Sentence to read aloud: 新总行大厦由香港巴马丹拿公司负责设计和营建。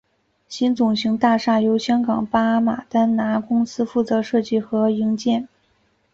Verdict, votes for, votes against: accepted, 3, 0